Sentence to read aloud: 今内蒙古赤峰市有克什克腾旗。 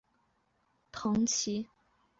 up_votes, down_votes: 2, 4